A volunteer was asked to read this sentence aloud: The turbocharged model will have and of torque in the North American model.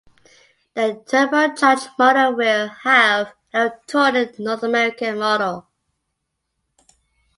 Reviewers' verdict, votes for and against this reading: rejected, 0, 2